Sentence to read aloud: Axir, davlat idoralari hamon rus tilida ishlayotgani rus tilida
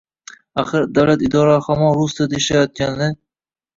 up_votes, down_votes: 1, 2